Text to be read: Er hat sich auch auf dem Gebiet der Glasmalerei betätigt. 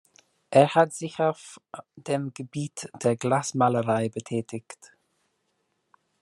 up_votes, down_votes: 2, 0